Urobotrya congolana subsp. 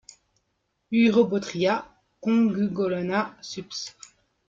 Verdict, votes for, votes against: rejected, 1, 2